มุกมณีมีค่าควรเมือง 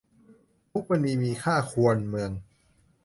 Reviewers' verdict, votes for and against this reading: accepted, 2, 0